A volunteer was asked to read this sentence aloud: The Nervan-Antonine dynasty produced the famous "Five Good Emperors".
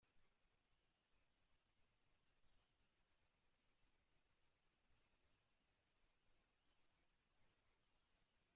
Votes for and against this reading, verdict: 0, 2, rejected